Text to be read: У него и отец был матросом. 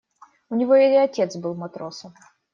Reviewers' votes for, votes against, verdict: 2, 0, accepted